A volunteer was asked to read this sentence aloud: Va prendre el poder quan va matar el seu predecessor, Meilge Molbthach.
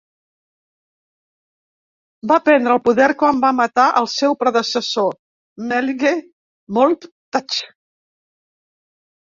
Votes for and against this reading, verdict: 1, 2, rejected